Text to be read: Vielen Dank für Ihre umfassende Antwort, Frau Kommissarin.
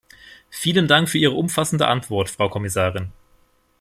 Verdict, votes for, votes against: rejected, 1, 2